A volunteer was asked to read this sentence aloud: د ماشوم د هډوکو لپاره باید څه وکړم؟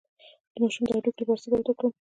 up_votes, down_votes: 2, 0